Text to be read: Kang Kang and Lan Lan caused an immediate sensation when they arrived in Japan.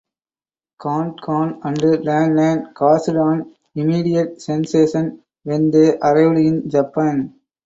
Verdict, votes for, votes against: rejected, 2, 4